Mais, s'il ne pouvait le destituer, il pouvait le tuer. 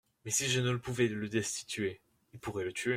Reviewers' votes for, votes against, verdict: 0, 2, rejected